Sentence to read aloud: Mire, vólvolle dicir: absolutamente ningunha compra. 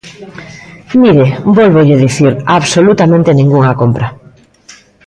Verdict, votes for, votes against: accepted, 3, 0